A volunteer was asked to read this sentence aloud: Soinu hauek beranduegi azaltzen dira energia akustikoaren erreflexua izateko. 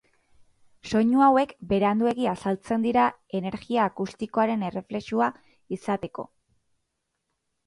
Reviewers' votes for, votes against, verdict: 0, 2, rejected